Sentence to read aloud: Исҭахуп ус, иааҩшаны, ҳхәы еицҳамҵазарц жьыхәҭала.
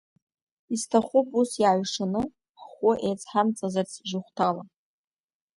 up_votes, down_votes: 2, 0